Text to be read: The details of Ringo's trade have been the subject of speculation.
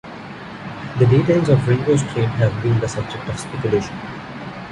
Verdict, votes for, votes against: rejected, 0, 2